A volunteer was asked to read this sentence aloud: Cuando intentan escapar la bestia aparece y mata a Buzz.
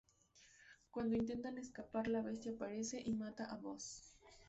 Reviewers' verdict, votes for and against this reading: accepted, 2, 0